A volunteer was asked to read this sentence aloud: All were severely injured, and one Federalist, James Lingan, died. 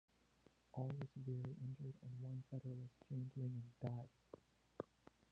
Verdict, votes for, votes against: rejected, 1, 2